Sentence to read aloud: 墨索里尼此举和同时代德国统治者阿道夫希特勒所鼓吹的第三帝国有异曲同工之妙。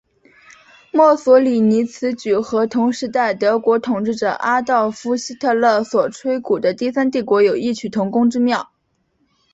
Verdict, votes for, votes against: accepted, 7, 1